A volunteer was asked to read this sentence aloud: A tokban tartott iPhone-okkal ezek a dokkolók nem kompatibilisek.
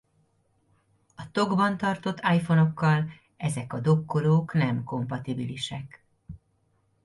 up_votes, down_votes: 2, 1